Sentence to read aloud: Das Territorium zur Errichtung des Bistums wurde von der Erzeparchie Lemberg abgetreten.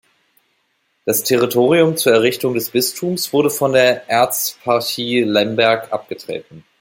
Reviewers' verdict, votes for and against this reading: rejected, 1, 2